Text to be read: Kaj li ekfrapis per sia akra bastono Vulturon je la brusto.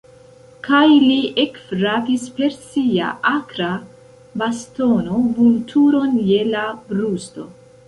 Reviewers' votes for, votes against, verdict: 2, 1, accepted